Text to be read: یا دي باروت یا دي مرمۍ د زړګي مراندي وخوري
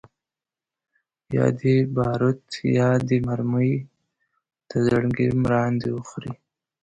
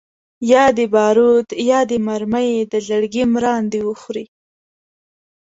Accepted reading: second